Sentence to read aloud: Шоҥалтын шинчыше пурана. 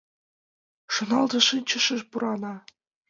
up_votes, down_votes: 2, 1